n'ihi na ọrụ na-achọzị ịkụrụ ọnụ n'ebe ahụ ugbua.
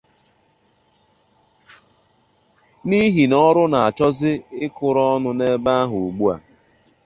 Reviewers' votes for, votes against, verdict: 2, 0, accepted